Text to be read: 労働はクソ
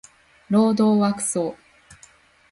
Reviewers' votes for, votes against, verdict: 2, 0, accepted